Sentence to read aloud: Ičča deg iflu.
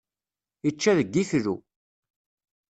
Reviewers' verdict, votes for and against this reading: accepted, 2, 0